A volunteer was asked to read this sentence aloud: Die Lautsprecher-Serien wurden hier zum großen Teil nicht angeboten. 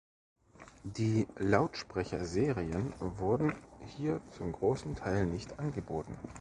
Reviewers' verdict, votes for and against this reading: rejected, 1, 2